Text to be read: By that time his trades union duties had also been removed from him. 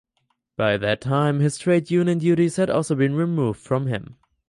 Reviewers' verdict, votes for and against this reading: accepted, 4, 0